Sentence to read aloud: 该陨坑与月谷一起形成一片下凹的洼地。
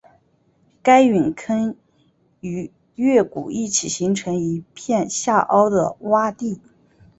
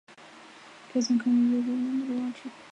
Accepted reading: first